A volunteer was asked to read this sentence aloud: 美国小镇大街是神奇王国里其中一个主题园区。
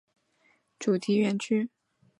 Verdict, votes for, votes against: rejected, 1, 2